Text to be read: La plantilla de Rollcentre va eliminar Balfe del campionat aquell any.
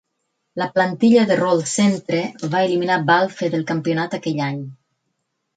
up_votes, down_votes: 6, 0